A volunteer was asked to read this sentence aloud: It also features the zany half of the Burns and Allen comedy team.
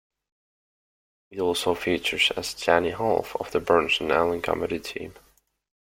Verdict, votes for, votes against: accepted, 2, 1